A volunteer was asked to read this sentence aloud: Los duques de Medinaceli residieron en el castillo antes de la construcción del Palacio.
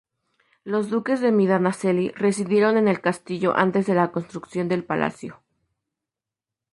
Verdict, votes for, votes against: rejected, 0, 2